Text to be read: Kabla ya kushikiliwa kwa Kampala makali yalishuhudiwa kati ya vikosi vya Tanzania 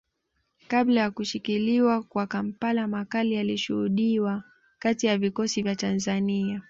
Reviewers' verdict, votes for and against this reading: accepted, 2, 0